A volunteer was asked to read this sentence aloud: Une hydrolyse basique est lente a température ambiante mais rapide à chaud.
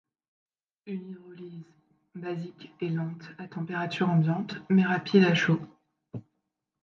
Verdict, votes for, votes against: rejected, 1, 2